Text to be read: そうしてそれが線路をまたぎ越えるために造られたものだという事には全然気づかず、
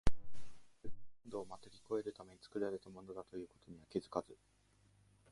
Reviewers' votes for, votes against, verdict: 0, 2, rejected